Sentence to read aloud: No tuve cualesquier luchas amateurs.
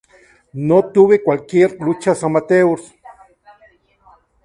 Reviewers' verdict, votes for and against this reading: rejected, 0, 2